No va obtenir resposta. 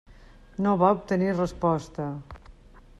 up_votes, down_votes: 3, 0